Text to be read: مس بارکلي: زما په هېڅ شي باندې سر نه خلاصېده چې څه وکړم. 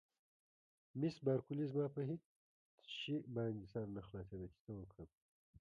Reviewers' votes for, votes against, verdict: 0, 2, rejected